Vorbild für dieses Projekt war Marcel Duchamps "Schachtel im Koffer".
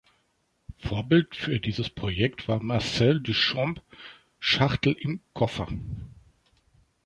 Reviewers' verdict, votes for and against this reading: rejected, 1, 2